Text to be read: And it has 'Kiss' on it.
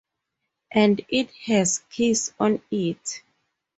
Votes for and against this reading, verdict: 2, 2, rejected